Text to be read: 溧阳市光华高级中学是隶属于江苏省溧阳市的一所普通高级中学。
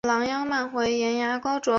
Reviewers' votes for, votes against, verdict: 0, 3, rejected